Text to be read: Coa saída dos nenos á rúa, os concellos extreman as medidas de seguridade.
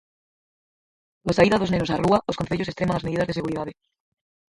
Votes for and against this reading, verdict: 0, 4, rejected